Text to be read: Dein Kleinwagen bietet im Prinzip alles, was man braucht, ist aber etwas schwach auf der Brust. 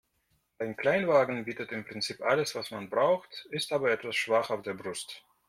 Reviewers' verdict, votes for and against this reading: accepted, 2, 0